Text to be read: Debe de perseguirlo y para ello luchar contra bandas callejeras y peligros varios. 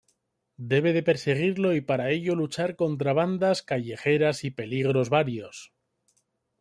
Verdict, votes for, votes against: rejected, 1, 2